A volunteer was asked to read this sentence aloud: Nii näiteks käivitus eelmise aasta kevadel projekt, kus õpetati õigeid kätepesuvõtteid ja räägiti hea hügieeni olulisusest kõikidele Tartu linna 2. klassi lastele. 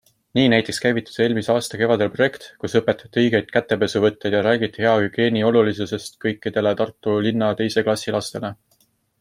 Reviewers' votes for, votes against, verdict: 0, 2, rejected